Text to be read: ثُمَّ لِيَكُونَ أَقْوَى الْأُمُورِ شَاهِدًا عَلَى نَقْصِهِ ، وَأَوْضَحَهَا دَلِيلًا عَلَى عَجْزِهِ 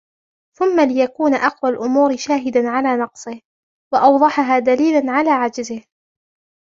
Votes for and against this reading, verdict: 1, 2, rejected